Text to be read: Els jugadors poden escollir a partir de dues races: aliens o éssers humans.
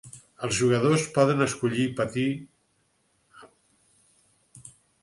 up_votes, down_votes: 0, 4